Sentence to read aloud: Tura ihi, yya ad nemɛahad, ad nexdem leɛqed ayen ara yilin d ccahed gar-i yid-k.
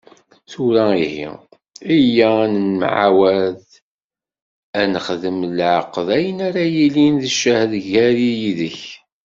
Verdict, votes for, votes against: rejected, 1, 2